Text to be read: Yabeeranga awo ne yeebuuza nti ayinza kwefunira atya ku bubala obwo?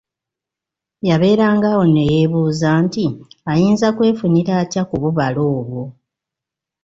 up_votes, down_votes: 2, 0